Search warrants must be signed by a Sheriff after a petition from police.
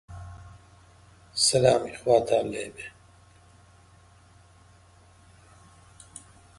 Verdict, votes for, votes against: rejected, 0, 2